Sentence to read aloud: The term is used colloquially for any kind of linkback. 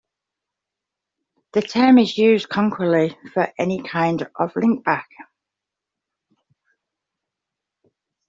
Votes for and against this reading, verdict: 1, 2, rejected